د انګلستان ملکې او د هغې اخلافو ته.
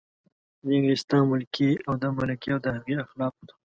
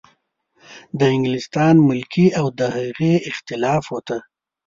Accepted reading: second